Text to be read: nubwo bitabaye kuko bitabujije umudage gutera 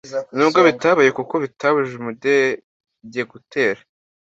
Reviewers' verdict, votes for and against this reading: accepted, 2, 0